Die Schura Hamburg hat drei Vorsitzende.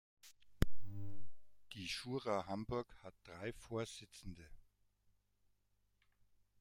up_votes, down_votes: 2, 0